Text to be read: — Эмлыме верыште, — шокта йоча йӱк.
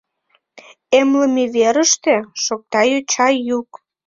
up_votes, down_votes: 1, 2